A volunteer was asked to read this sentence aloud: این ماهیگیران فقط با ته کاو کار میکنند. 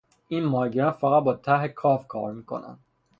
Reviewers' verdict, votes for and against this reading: rejected, 0, 3